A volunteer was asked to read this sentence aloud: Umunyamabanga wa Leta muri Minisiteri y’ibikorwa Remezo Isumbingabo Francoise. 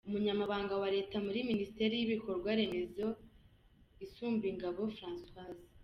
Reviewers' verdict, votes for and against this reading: accepted, 3, 0